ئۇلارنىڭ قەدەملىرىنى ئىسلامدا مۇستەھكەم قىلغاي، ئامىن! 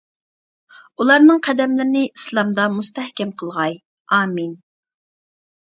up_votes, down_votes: 2, 0